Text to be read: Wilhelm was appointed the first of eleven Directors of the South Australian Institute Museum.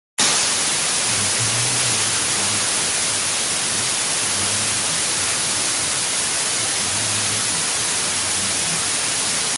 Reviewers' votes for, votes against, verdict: 0, 2, rejected